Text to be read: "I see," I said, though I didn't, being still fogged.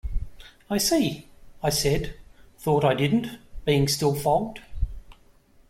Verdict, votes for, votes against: rejected, 1, 2